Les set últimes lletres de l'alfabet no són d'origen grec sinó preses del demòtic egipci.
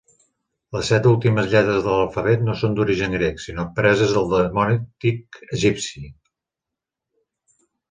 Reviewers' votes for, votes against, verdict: 1, 3, rejected